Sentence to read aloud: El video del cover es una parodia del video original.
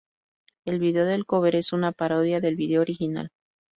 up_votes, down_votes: 2, 0